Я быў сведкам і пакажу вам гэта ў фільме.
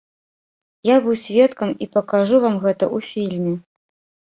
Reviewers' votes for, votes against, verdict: 1, 2, rejected